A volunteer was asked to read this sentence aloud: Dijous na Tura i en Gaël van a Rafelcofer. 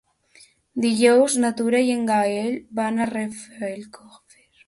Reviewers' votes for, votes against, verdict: 1, 2, rejected